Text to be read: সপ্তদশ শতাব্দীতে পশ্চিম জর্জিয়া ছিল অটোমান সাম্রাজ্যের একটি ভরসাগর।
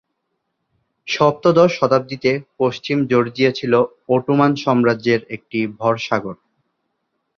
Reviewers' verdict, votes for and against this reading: rejected, 2, 2